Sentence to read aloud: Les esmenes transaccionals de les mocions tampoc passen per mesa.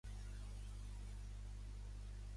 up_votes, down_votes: 0, 2